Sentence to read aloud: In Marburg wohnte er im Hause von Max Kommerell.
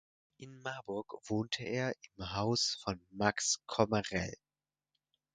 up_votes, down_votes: 2, 4